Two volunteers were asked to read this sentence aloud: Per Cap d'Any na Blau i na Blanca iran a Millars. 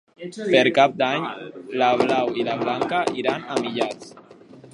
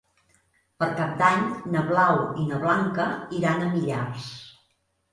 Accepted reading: second